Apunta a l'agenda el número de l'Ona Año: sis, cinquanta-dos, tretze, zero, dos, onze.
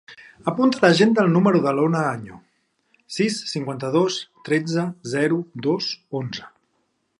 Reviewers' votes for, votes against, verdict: 3, 0, accepted